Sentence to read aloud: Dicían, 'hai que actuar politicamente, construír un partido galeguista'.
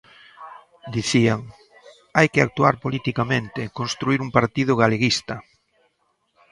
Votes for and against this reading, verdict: 0, 2, rejected